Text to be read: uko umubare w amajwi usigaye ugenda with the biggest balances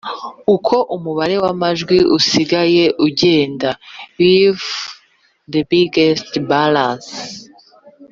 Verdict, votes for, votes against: accepted, 3, 0